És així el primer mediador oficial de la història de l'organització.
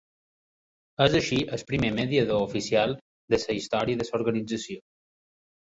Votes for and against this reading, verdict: 0, 2, rejected